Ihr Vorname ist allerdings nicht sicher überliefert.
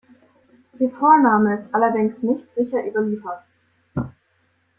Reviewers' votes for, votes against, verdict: 2, 1, accepted